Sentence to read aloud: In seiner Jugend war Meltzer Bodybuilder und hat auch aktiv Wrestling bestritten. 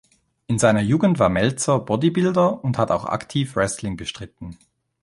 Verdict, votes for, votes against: accepted, 2, 0